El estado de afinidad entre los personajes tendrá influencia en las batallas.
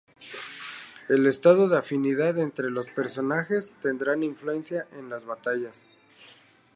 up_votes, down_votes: 0, 2